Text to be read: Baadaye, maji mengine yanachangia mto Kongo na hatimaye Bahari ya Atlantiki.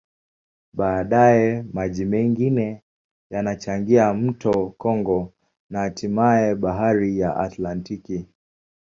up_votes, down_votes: 2, 0